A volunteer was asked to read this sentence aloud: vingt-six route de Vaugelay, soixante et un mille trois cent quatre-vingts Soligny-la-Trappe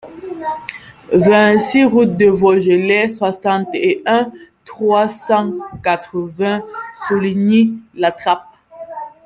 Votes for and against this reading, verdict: 1, 2, rejected